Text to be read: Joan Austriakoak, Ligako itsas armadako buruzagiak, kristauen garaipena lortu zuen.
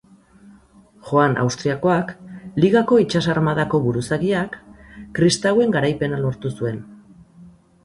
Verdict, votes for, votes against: accepted, 4, 0